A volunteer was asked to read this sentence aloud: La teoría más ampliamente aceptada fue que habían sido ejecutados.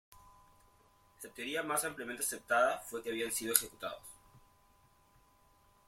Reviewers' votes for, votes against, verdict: 2, 0, accepted